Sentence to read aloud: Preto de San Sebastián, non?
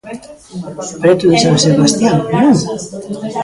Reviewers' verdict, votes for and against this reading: rejected, 0, 2